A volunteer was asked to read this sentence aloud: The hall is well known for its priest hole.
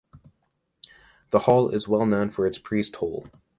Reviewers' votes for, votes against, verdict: 2, 0, accepted